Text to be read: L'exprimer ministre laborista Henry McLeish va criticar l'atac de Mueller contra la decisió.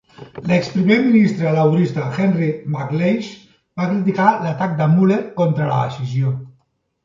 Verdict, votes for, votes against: accepted, 2, 0